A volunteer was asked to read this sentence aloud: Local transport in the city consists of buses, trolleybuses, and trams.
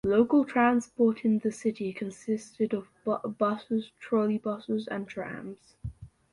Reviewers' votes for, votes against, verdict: 0, 2, rejected